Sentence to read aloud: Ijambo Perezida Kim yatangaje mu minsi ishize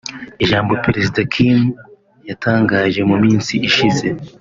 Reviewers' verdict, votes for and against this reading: accepted, 3, 0